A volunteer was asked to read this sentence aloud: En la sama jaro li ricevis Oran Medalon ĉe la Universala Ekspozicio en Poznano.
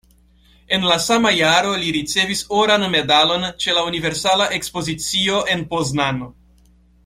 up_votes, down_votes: 2, 0